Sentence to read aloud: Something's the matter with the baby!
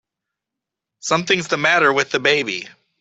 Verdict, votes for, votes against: accepted, 3, 0